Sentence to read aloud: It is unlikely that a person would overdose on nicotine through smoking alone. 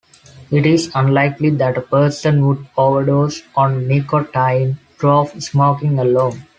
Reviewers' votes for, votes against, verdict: 2, 1, accepted